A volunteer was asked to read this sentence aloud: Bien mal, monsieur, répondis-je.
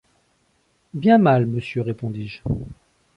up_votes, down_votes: 2, 0